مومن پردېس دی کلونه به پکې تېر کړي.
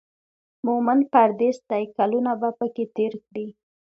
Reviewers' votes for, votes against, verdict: 2, 0, accepted